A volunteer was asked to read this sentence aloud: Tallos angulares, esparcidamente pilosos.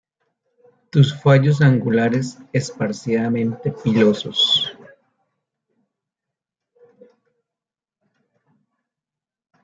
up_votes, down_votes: 0, 2